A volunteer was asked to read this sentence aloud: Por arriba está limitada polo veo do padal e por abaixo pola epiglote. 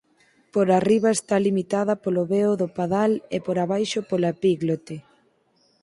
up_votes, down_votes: 0, 4